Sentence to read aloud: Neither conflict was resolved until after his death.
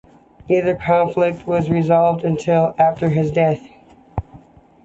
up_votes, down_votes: 2, 0